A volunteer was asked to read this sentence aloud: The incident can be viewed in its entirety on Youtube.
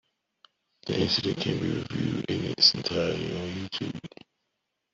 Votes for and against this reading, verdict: 0, 2, rejected